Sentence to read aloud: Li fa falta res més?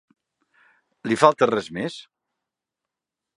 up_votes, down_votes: 0, 2